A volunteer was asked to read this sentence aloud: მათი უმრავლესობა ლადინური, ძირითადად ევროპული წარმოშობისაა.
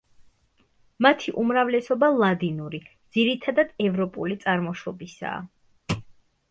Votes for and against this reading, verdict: 2, 0, accepted